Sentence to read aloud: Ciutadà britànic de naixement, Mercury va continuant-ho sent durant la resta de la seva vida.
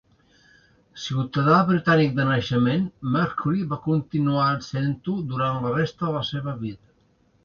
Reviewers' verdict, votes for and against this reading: rejected, 0, 2